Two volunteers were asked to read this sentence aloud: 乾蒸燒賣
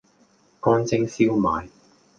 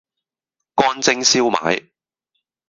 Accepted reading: first